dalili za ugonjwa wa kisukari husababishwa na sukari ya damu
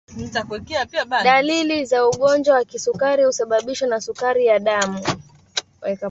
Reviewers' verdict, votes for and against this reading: rejected, 0, 3